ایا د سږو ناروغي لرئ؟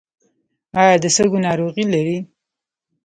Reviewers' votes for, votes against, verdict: 2, 1, accepted